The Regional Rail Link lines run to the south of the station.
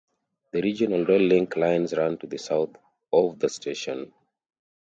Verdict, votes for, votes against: accepted, 2, 0